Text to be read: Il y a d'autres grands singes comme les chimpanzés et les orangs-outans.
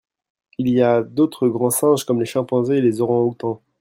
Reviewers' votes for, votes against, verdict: 2, 0, accepted